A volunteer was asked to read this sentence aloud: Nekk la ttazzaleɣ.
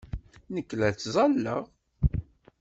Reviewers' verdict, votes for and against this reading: rejected, 0, 2